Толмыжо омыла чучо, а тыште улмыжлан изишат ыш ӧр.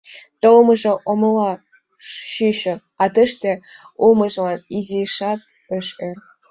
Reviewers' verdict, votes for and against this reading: rejected, 2, 3